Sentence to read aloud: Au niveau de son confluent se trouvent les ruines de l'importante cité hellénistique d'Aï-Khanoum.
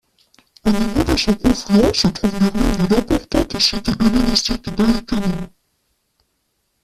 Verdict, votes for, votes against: rejected, 0, 2